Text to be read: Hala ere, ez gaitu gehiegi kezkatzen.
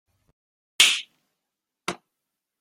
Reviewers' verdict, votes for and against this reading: rejected, 0, 2